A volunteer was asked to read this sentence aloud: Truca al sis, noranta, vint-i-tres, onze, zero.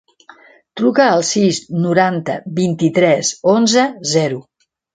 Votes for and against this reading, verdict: 2, 0, accepted